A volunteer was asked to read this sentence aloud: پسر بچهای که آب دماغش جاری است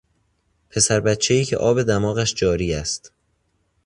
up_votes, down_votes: 2, 0